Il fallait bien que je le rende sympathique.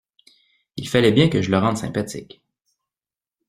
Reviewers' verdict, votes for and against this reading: accepted, 2, 0